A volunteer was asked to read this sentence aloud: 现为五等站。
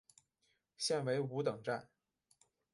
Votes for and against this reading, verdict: 2, 0, accepted